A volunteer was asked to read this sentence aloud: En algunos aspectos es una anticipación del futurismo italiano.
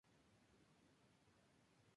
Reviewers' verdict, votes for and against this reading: rejected, 0, 2